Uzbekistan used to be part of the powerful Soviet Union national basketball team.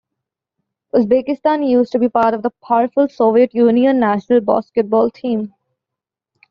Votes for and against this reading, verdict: 2, 0, accepted